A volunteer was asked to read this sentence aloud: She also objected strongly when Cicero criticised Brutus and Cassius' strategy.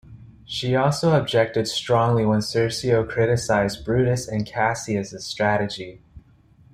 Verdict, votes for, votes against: rejected, 1, 2